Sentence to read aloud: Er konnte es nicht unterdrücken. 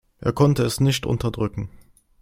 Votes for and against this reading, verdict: 2, 0, accepted